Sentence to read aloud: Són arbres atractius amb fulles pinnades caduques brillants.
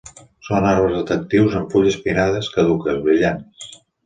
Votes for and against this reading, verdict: 2, 0, accepted